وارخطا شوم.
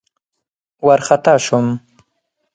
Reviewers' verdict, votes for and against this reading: accepted, 4, 0